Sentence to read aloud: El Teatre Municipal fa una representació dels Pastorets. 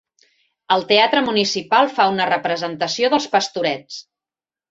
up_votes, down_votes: 3, 0